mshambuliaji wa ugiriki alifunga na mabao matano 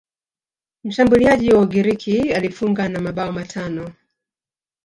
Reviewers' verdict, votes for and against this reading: rejected, 0, 2